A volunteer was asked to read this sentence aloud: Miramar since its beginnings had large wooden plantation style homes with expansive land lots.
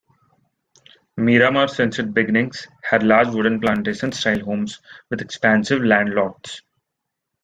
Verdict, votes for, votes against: accepted, 2, 1